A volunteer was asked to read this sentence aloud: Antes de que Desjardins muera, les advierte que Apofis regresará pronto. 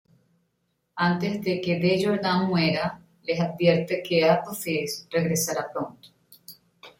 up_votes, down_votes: 2, 0